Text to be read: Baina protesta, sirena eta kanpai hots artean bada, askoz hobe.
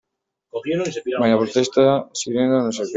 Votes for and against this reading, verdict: 0, 2, rejected